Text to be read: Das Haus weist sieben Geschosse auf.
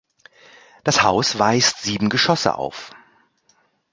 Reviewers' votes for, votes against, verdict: 2, 0, accepted